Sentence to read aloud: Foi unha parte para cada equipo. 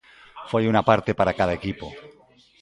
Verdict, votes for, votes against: rejected, 0, 2